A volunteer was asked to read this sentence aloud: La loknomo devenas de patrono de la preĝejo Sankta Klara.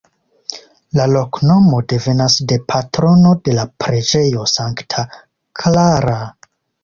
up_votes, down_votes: 2, 0